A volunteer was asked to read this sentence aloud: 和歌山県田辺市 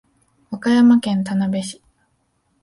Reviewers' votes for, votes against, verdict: 2, 0, accepted